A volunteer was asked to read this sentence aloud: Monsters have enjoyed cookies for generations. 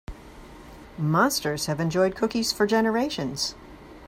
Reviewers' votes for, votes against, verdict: 2, 0, accepted